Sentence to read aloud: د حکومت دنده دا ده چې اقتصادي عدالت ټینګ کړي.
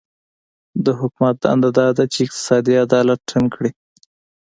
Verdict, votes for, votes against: accepted, 3, 0